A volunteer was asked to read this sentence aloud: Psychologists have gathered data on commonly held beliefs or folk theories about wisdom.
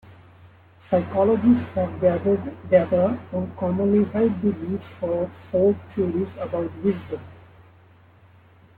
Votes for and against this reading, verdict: 1, 2, rejected